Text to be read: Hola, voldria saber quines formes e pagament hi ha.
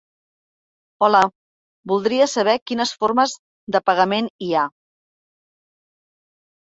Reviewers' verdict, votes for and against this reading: rejected, 0, 2